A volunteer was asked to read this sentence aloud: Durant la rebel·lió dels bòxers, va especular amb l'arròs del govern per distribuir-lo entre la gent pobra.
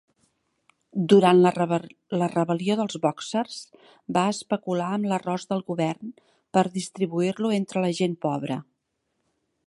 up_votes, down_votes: 1, 2